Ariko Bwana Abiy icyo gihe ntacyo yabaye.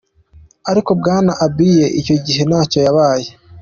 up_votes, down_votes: 2, 0